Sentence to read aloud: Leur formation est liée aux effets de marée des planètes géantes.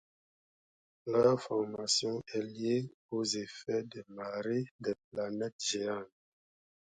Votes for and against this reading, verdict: 2, 0, accepted